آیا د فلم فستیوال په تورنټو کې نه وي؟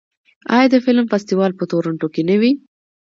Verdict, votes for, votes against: accepted, 2, 1